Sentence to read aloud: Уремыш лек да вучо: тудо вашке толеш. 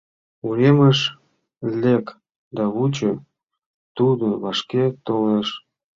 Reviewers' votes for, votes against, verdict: 2, 0, accepted